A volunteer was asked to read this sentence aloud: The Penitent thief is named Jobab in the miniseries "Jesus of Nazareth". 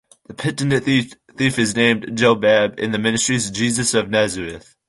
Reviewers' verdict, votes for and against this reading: rejected, 1, 2